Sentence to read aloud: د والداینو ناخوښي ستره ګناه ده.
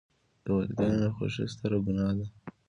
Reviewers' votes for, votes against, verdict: 2, 1, accepted